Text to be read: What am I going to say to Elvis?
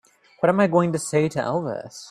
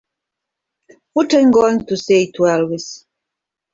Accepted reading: first